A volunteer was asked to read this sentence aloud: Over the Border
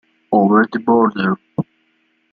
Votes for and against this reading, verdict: 4, 0, accepted